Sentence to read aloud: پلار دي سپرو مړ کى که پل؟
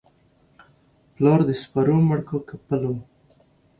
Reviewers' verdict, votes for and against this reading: accepted, 2, 0